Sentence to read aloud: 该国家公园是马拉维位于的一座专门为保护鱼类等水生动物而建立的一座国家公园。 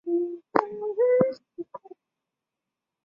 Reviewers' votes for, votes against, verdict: 0, 3, rejected